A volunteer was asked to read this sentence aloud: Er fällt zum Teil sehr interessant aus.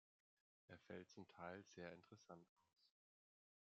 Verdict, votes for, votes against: rejected, 1, 2